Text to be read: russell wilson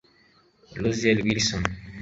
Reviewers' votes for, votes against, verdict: 0, 2, rejected